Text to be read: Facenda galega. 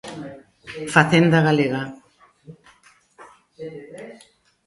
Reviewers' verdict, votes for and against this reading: accepted, 2, 1